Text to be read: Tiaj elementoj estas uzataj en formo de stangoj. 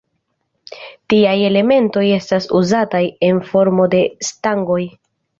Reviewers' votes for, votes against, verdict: 2, 0, accepted